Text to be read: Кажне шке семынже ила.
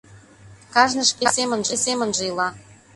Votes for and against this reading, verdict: 0, 2, rejected